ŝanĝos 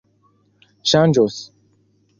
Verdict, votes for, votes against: accepted, 2, 0